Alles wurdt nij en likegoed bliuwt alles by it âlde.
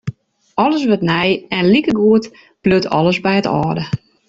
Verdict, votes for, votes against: rejected, 0, 2